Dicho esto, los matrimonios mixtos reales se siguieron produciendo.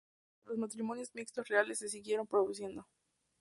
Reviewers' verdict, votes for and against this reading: rejected, 0, 2